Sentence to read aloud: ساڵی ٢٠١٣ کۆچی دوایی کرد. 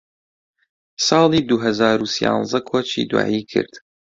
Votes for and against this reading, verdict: 0, 2, rejected